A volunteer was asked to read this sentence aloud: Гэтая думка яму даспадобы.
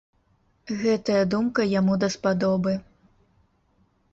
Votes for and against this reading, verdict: 2, 0, accepted